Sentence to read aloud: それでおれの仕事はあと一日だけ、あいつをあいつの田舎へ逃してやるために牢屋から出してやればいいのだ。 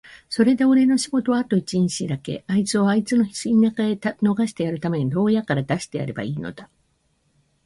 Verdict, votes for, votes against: accepted, 2, 0